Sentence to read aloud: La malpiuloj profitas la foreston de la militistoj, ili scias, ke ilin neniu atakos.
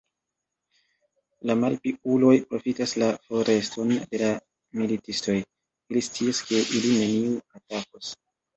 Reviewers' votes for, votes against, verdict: 1, 2, rejected